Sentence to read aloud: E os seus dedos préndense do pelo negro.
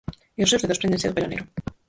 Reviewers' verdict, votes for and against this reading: rejected, 0, 4